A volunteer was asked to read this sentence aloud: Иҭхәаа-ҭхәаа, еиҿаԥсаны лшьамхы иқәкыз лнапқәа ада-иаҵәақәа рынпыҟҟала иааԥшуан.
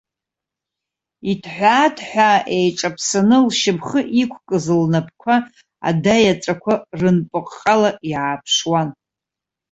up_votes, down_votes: 0, 2